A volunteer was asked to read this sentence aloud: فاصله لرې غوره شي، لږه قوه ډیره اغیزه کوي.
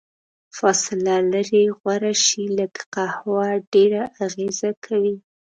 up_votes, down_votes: 0, 2